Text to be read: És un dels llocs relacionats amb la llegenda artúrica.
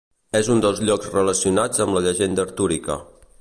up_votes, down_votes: 2, 0